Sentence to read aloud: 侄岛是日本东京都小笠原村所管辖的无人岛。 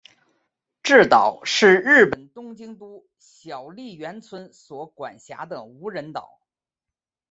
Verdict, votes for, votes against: rejected, 0, 3